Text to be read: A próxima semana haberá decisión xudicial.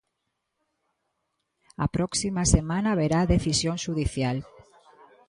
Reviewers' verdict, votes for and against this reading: accepted, 2, 0